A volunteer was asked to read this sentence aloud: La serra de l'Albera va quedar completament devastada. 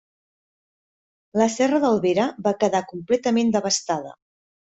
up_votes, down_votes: 1, 2